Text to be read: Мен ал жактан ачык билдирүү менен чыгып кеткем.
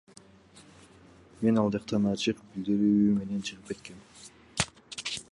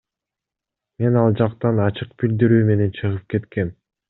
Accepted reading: second